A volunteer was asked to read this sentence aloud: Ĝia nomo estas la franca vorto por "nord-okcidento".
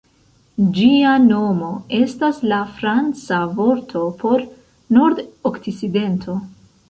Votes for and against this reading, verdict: 1, 2, rejected